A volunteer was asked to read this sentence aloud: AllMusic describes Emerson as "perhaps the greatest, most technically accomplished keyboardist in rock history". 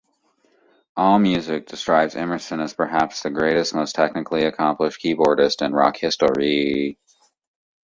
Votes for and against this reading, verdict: 1, 2, rejected